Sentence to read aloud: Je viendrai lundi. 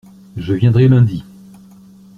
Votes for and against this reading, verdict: 2, 1, accepted